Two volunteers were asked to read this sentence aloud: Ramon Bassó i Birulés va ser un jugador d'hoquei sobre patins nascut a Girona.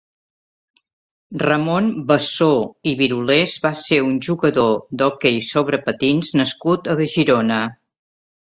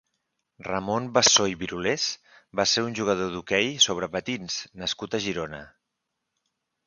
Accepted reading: second